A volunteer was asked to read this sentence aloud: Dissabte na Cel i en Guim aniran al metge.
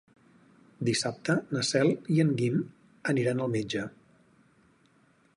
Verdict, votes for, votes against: accepted, 6, 0